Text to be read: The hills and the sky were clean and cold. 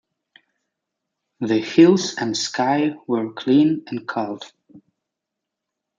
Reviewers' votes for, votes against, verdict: 1, 2, rejected